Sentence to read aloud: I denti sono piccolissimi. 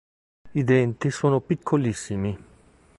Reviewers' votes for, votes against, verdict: 2, 0, accepted